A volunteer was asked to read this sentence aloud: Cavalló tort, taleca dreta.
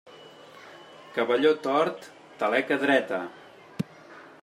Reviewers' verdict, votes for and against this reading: accepted, 3, 0